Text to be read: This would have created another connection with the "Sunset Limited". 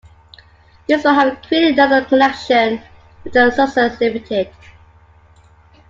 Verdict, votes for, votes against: rejected, 0, 2